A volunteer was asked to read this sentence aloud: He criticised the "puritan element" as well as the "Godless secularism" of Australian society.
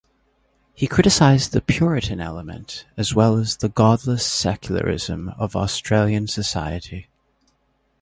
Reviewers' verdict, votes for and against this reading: accepted, 2, 0